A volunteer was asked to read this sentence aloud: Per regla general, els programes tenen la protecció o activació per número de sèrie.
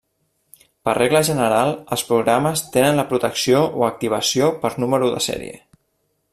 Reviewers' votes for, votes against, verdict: 0, 2, rejected